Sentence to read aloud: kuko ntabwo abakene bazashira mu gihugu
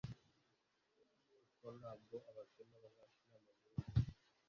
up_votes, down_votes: 1, 2